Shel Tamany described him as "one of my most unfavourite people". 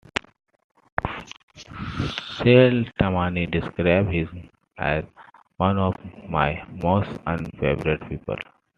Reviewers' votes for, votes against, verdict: 2, 1, accepted